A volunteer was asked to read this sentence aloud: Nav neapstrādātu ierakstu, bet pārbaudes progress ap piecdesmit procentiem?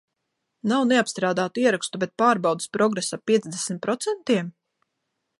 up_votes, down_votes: 2, 0